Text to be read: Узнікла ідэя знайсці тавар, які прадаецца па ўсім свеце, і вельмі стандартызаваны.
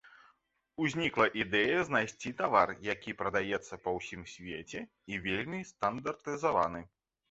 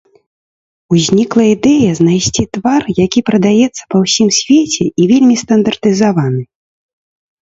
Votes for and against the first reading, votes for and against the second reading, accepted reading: 2, 0, 0, 2, first